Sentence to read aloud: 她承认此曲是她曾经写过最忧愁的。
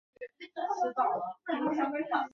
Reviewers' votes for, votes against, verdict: 0, 5, rejected